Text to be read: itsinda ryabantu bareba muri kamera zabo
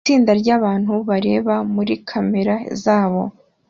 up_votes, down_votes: 2, 0